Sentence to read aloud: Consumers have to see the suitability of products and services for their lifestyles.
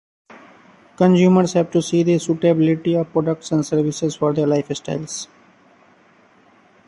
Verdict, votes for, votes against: rejected, 0, 2